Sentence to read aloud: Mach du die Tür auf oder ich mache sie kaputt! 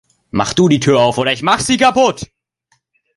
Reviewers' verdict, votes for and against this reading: accepted, 2, 1